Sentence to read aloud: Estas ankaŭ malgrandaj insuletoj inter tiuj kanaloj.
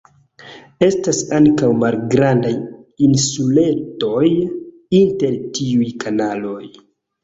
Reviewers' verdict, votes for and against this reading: accepted, 2, 0